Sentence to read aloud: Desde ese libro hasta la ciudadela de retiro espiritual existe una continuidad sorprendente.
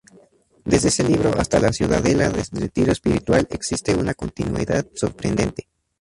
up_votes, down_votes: 0, 4